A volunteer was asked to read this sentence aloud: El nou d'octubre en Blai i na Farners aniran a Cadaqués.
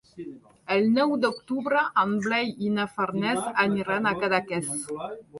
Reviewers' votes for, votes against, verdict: 3, 1, accepted